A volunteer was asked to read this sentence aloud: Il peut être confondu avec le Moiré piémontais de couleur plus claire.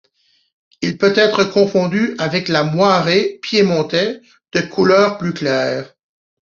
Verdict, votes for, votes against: rejected, 1, 2